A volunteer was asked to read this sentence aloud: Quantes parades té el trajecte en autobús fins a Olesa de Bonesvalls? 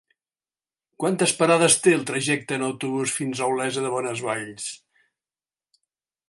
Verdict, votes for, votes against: accepted, 3, 0